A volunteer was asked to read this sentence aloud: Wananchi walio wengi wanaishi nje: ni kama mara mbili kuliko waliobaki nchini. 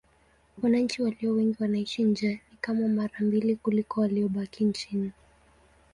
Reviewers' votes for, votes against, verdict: 2, 1, accepted